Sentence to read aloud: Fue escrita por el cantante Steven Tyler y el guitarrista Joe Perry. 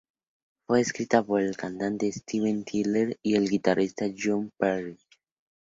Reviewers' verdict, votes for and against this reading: accepted, 2, 0